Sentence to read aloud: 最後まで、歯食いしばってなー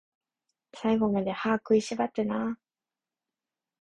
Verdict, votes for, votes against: accepted, 8, 3